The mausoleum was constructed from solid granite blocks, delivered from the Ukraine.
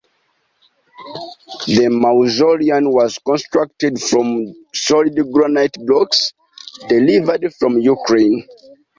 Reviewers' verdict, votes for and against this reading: accepted, 2, 0